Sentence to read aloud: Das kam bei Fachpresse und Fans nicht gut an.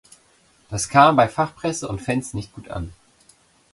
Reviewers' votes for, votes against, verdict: 2, 0, accepted